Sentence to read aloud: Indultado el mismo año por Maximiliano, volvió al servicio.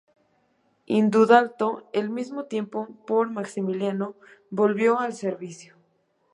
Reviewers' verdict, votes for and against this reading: rejected, 1, 2